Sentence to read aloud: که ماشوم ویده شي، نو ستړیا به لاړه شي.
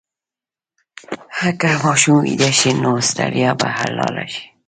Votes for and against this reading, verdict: 1, 2, rejected